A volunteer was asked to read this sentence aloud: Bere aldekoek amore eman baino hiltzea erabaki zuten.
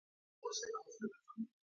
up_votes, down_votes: 0, 2